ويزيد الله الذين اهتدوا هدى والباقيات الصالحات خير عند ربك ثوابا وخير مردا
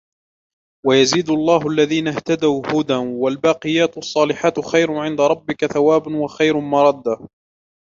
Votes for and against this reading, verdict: 1, 2, rejected